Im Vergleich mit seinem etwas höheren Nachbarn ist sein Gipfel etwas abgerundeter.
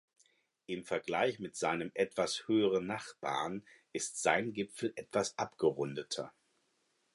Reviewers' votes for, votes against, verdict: 4, 0, accepted